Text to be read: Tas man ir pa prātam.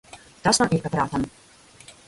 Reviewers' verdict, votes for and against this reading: rejected, 0, 2